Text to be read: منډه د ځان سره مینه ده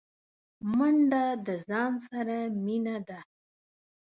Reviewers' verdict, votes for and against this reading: accepted, 2, 0